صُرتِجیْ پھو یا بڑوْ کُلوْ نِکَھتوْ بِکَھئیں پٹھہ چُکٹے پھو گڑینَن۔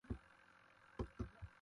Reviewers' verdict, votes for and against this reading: rejected, 0, 2